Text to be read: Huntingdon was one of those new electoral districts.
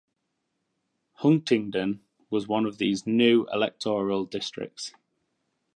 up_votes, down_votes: 2, 0